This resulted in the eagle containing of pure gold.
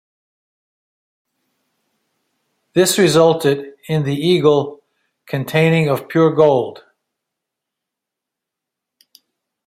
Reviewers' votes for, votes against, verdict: 2, 1, accepted